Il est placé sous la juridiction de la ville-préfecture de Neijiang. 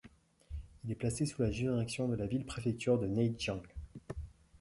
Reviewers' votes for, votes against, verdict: 0, 2, rejected